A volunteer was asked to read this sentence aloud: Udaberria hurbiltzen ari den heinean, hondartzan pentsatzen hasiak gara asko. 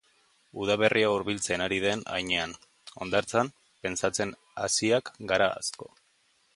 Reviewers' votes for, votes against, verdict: 2, 1, accepted